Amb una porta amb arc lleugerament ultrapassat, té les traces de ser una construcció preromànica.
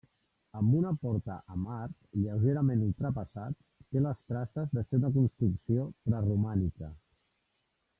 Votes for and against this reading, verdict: 1, 2, rejected